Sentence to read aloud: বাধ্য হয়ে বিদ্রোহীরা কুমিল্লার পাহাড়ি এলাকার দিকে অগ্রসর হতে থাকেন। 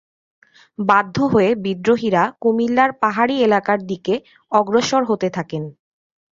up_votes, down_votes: 2, 0